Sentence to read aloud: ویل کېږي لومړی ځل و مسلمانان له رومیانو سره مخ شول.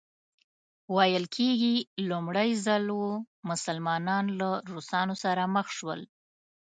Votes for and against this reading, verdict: 0, 2, rejected